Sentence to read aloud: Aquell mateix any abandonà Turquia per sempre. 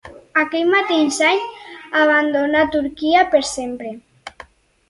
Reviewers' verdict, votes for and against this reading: rejected, 2, 4